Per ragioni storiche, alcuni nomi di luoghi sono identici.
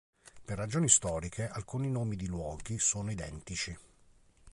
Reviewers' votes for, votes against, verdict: 4, 0, accepted